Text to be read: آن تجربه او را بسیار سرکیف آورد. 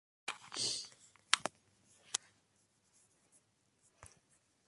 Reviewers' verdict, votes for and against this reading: rejected, 0, 2